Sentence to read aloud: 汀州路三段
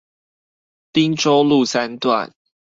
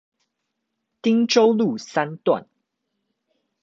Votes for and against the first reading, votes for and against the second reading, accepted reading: 2, 2, 2, 0, second